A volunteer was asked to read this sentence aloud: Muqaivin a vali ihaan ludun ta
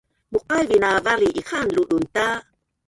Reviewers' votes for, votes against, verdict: 1, 3, rejected